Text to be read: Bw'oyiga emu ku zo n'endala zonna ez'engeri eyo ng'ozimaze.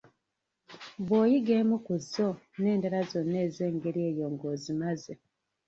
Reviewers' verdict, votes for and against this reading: rejected, 1, 2